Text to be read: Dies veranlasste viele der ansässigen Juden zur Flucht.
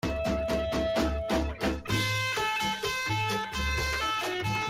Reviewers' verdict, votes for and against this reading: rejected, 0, 2